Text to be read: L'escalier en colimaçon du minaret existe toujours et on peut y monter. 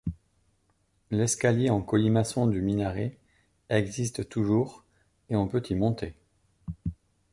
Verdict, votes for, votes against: accepted, 2, 0